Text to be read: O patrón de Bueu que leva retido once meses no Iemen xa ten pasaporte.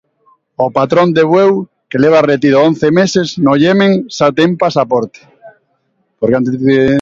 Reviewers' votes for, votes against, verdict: 0, 2, rejected